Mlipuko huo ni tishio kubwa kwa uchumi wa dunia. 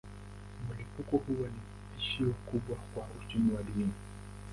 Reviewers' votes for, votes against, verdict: 0, 2, rejected